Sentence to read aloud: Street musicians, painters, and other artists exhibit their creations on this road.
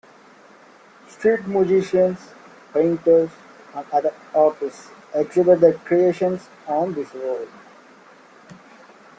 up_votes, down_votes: 0, 2